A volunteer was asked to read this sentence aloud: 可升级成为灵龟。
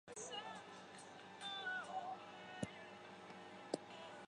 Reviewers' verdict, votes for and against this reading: rejected, 1, 2